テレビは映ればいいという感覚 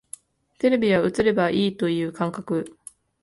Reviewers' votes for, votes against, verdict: 2, 0, accepted